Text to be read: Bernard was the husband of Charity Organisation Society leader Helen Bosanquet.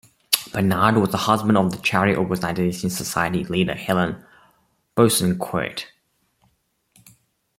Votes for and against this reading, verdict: 0, 2, rejected